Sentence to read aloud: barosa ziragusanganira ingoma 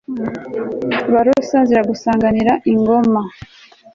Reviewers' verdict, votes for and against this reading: accepted, 3, 0